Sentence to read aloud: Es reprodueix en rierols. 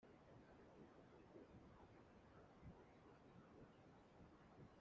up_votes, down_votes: 0, 2